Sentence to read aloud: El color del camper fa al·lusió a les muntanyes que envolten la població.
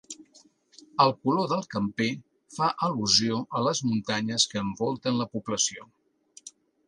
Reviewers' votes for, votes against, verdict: 3, 0, accepted